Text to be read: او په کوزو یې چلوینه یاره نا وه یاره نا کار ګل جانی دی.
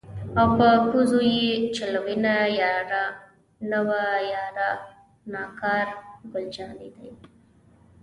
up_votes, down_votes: 1, 2